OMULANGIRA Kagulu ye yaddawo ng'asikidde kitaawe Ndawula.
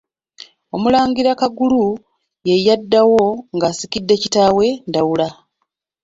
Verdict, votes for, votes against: accepted, 2, 0